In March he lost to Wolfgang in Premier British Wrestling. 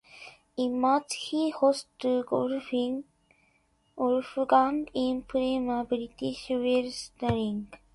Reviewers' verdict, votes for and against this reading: rejected, 0, 2